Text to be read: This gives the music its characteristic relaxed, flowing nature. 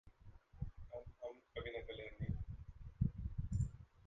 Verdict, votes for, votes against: rejected, 0, 2